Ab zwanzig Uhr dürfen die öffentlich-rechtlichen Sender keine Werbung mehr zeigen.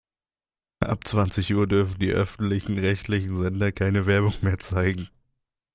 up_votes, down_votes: 1, 2